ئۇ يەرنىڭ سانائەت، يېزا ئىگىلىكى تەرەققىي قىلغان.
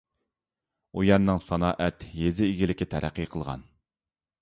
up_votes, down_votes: 2, 0